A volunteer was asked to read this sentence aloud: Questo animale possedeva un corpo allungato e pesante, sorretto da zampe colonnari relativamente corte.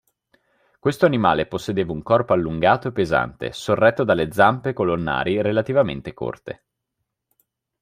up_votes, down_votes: 0, 2